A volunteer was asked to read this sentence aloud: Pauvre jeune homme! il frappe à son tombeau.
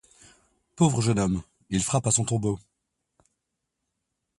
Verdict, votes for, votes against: accepted, 2, 0